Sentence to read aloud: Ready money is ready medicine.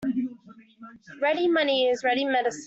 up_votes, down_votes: 0, 2